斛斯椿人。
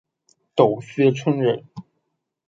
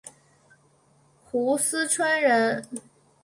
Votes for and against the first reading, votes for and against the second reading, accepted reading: 0, 2, 2, 1, second